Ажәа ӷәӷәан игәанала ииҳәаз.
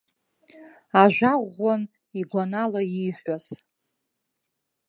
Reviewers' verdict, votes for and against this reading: rejected, 0, 2